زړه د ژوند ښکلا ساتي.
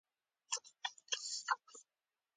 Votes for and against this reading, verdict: 0, 2, rejected